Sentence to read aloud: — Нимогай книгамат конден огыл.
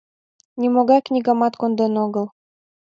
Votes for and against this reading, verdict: 2, 0, accepted